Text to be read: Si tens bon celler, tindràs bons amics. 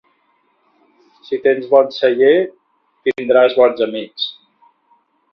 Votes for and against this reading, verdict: 2, 0, accepted